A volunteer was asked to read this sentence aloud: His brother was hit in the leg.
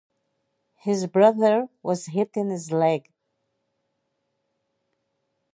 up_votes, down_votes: 0, 2